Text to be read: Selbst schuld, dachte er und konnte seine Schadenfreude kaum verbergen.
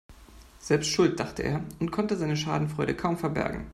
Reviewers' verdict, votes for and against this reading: accepted, 2, 0